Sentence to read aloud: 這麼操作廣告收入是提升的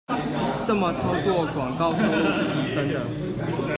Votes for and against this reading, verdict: 0, 2, rejected